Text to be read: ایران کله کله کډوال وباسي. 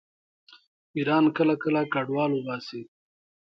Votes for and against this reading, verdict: 2, 0, accepted